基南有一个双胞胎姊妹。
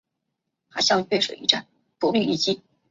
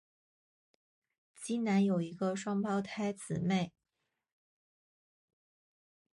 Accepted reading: second